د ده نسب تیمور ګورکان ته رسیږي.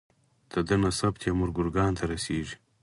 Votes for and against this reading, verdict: 4, 0, accepted